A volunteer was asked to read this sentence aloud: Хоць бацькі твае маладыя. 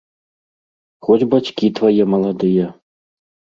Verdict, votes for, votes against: accepted, 2, 0